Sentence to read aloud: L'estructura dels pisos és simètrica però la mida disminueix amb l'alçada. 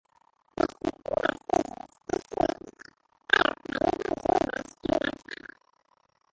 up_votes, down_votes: 0, 2